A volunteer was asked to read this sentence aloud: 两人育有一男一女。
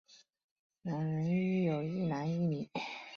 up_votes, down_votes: 2, 0